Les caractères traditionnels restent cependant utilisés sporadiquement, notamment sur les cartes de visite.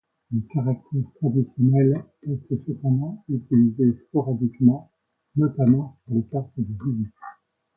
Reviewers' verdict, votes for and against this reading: accepted, 2, 0